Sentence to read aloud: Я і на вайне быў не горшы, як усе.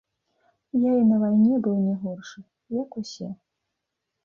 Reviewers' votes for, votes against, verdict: 3, 0, accepted